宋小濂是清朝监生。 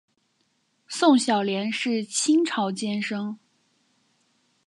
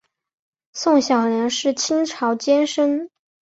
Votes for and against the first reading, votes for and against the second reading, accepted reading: 2, 0, 1, 2, first